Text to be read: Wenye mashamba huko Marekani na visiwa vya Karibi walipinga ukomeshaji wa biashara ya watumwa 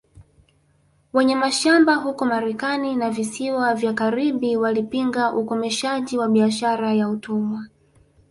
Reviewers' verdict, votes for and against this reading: rejected, 0, 2